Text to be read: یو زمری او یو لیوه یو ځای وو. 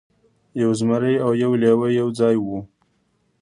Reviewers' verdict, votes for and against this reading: rejected, 0, 2